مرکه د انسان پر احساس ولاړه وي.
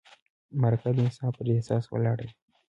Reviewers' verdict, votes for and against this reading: accepted, 2, 0